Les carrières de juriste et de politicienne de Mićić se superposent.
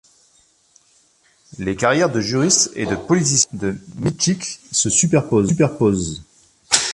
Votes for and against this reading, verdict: 0, 2, rejected